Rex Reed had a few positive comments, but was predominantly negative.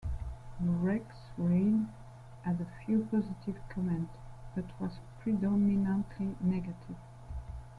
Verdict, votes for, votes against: accepted, 2, 0